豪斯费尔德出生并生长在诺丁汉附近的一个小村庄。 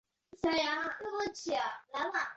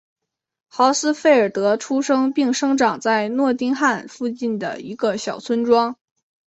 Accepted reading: second